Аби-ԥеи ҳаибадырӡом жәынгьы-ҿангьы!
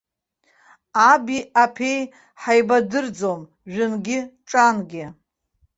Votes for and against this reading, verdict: 0, 2, rejected